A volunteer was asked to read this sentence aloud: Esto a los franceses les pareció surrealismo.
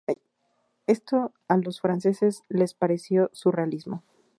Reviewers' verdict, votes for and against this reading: accepted, 2, 0